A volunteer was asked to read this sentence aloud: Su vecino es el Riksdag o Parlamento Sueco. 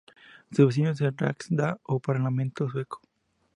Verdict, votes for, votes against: accepted, 2, 0